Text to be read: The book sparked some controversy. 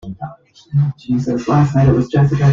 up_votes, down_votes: 0, 2